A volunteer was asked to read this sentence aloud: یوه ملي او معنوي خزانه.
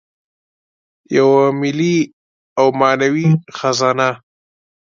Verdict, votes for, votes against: accepted, 2, 1